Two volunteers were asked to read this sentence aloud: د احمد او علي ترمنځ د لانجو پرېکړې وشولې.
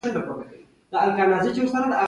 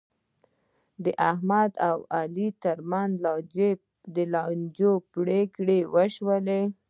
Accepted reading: first